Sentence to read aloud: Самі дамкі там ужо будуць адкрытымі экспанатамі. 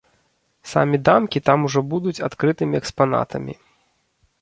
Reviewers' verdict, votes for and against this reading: rejected, 0, 2